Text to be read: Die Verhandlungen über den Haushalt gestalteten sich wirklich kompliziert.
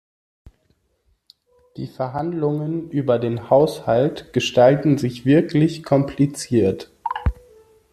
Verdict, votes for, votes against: rejected, 1, 2